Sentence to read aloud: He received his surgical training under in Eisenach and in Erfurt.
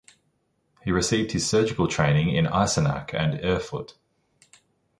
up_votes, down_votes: 0, 2